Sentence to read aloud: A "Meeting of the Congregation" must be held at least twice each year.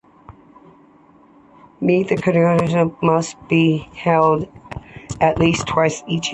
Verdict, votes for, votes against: rejected, 1, 2